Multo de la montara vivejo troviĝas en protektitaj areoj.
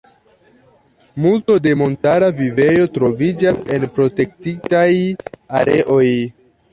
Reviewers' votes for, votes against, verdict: 2, 0, accepted